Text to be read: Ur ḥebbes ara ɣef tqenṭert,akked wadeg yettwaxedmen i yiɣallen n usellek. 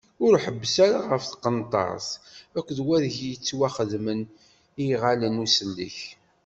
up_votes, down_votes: 2, 0